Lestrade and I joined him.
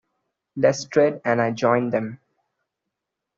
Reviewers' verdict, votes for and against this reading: rejected, 0, 2